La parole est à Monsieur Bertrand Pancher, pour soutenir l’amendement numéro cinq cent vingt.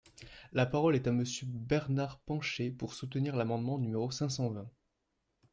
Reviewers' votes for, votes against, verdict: 0, 2, rejected